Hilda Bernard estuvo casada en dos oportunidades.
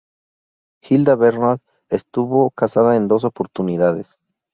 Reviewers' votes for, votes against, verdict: 2, 0, accepted